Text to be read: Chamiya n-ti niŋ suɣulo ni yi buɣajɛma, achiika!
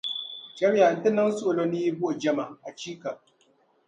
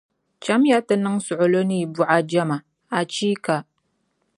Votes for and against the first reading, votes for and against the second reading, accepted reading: 0, 2, 2, 0, second